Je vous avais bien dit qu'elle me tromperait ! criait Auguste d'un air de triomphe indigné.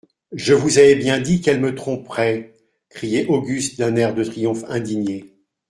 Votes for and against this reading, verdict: 1, 2, rejected